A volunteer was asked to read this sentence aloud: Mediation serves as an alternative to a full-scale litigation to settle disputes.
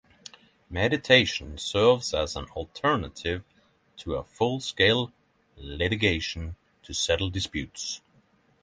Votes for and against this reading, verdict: 0, 6, rejected